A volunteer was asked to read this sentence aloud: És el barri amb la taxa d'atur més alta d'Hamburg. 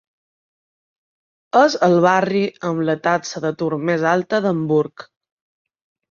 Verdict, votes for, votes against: accepted, 2, 0